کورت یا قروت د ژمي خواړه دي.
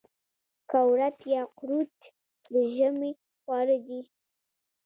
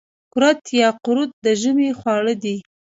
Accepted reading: first